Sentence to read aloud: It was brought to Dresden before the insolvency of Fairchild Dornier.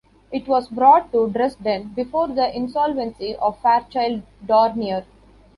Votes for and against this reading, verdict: 0, 2, rejected